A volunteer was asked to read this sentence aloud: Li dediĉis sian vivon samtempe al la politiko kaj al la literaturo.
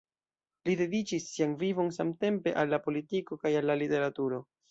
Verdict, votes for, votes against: accepted, 2, 0